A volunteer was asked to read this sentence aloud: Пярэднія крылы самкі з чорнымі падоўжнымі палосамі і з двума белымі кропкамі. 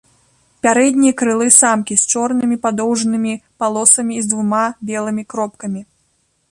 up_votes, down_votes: 1, 2